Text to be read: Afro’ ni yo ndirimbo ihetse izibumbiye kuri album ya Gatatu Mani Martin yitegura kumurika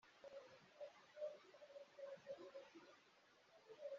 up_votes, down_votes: 0, 2